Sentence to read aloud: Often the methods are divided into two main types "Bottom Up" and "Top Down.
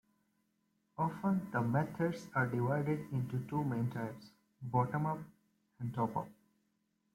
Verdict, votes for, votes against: accepted, 2, 1